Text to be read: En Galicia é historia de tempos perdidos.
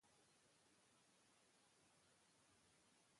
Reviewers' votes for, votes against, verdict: 0, 2, rejected